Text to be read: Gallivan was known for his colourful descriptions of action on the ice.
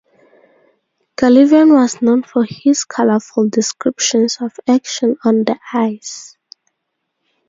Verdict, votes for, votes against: accepted, 2, 0